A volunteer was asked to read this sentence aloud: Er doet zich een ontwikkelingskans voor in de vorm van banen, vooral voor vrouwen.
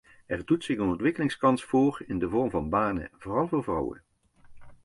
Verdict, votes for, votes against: accepted, 2, 0